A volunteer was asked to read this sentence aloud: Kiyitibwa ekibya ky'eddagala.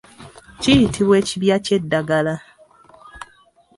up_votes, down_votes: 2, 0